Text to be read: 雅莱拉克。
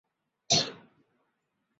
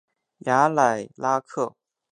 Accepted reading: second